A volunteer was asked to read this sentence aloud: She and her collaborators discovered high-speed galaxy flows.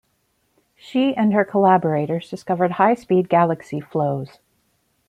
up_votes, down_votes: 2, 0